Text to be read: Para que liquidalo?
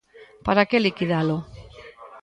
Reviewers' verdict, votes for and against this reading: accepted, 2, 0